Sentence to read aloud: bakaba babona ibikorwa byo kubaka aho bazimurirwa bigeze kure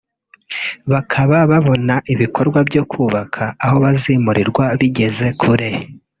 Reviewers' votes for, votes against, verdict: 1, 2, rejected